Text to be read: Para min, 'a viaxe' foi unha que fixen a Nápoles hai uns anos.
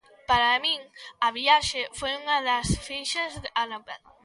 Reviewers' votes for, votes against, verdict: 0, 2, rejected